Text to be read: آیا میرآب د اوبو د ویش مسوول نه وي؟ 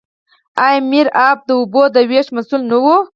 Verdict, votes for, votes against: rejected, 0, 4